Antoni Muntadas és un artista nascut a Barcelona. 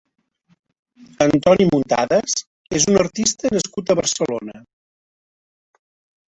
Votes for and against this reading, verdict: 0, 2, rejected